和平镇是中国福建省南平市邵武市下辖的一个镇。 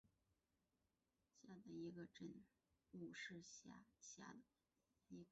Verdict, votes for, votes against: rejected, 0, 2